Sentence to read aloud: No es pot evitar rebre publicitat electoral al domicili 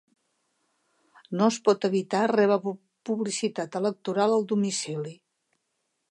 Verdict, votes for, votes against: rejected, 0, 2